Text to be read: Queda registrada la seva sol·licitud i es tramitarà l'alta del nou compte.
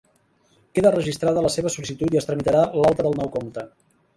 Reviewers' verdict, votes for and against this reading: accepted, 2, 0